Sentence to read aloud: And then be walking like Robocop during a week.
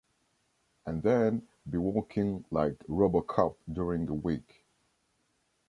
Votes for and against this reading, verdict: 1, 2, rejected